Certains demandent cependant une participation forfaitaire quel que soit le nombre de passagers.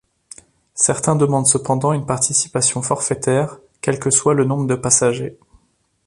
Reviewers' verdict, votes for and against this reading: accepted, 2, 0